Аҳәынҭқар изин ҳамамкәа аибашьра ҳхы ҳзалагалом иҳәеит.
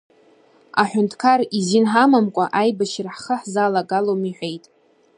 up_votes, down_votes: 2, 0